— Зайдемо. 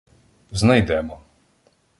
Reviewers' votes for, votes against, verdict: 0, 2, rejected